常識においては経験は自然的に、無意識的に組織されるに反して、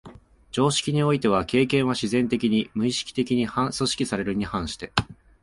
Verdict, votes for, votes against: rejected, 0, 2